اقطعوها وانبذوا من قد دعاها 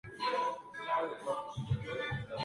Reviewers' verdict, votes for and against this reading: rejected, 0, 2